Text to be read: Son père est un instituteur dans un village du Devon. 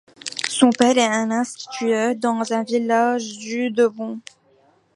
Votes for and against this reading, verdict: 2, 0, accepted